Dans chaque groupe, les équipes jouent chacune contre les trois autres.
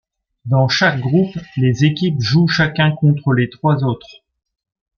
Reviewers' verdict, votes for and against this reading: rejected, 0, 2